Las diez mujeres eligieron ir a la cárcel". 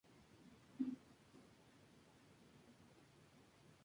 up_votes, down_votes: 0, 2